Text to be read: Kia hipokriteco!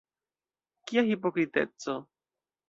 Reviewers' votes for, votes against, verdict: 2, 0, accepted